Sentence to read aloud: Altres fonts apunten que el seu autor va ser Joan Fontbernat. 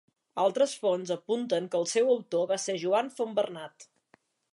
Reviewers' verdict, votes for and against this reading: accepted, 2, 0